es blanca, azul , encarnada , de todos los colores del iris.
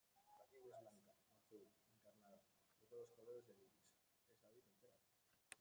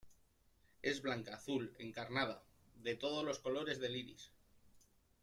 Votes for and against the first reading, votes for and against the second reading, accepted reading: 0, 2, 2, 0, second